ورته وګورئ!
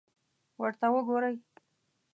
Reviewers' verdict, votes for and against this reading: accepted, 2, 0